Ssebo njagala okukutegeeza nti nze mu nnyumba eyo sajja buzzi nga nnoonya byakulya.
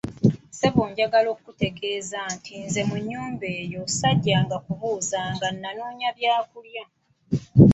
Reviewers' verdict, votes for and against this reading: rejected, 1, 2